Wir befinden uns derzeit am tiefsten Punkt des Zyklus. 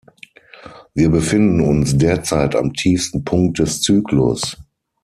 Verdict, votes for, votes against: accepted, 6, 0